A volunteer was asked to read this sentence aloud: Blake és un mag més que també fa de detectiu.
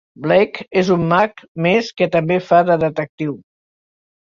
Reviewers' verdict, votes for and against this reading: accepted, 2, 0